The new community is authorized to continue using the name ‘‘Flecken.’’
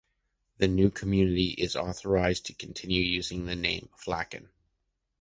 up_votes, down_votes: 2, 0